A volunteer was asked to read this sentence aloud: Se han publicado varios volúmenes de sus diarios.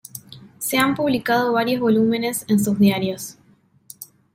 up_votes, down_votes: 1, 2